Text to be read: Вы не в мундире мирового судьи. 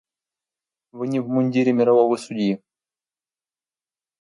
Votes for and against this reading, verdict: 2, 0, accepted